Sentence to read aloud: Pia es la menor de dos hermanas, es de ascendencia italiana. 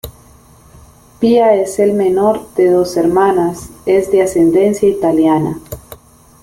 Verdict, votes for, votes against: rejected, 1, 2